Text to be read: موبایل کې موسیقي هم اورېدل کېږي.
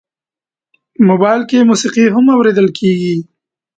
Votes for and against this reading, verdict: 2, 0, accepted